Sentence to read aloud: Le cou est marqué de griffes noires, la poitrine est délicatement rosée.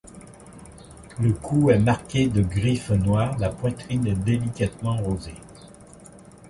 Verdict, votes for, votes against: rejected, 1, 2